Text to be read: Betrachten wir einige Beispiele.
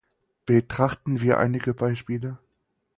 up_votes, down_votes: 4, 0